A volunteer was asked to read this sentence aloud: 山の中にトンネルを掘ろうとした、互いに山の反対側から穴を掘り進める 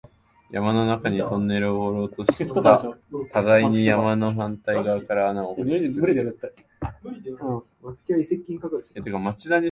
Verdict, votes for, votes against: rejected, 0, 2